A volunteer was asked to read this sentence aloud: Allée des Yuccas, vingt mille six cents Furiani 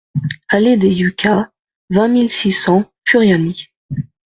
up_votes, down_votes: 2, 0